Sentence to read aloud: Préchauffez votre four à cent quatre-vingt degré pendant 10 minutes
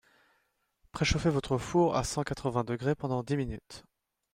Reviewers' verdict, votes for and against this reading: rejected, 0, 2